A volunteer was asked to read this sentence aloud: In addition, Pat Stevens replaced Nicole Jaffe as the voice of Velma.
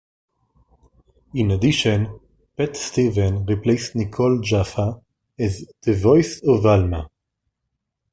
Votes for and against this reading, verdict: 1, 2, rejected